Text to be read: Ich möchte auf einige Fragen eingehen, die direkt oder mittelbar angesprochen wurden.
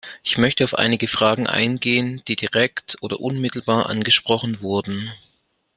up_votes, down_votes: 1, 2